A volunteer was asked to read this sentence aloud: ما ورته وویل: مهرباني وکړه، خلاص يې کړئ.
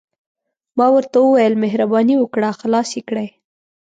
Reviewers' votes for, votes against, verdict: 2, 0, accepted